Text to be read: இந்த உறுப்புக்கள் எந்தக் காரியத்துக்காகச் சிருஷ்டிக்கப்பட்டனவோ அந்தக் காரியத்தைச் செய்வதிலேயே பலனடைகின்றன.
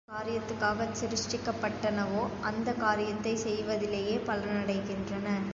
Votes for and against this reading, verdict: 0, 2, rejected